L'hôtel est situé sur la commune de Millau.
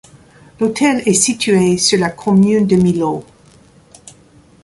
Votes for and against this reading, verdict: 1, 2, rejected